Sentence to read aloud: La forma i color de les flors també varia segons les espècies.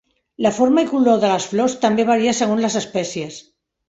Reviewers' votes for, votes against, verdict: 3, 0, accepted